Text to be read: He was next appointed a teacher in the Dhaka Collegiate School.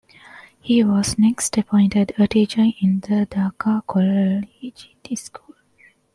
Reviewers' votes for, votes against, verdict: 1, 2, rejected